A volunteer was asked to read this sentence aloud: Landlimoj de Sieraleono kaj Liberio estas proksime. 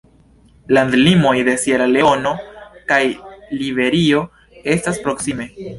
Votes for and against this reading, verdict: 1, 2, rejected